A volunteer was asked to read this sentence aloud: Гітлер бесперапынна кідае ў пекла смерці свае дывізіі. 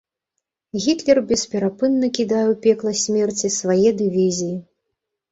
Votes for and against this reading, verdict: 2, 0, accepted